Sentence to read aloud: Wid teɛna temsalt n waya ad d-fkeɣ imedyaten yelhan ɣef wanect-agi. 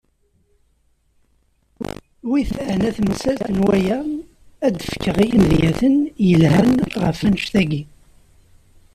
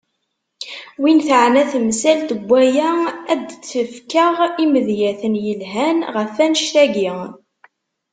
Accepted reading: first